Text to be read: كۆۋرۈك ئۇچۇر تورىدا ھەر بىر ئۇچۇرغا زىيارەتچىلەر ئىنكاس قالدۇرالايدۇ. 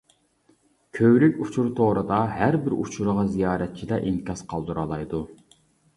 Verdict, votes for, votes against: accepted, 2, 0